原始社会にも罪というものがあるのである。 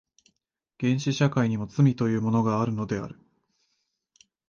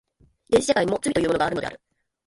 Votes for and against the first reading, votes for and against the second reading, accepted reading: 4, 0, 1, 2, first